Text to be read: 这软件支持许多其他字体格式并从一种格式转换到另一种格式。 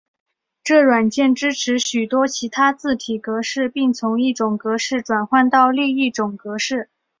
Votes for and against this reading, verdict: 2, 0, accepted